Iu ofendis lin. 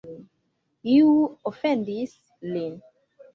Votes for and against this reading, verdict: 2, 0, accepted